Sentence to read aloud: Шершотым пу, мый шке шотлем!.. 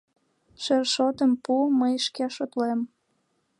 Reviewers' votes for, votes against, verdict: 2, 0, accepted